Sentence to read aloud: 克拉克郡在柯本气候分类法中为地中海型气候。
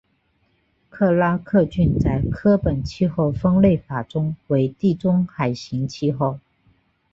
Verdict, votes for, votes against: accepted, 3, 0